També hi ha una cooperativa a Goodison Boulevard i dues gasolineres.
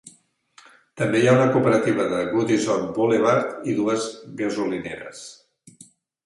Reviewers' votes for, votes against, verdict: 0, 2, rejected